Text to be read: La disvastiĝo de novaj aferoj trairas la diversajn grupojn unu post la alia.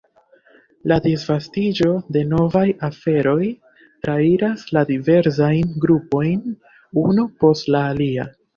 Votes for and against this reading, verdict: 1, 2, rejected